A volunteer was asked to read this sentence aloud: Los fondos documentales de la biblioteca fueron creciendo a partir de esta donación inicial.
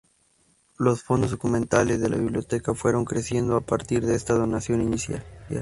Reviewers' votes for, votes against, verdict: 0, 2, rejected